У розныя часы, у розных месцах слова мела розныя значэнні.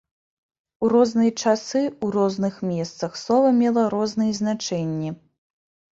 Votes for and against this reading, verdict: 0, 2, rejected